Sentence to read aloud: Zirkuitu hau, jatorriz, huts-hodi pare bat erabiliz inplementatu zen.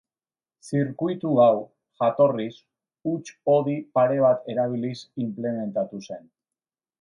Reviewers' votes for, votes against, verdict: 2, 0, accepted